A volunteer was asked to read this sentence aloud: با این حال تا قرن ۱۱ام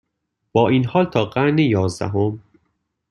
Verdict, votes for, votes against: rejected, 0, 2